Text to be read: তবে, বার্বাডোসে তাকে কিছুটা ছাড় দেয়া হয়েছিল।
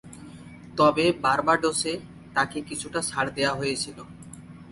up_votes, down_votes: 4, 0